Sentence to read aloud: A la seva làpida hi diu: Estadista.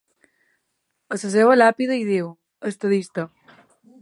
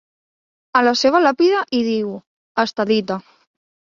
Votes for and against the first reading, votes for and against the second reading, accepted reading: 3, 2, 1, 3, first